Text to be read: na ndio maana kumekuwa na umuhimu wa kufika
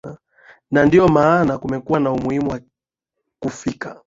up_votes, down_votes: 4, 1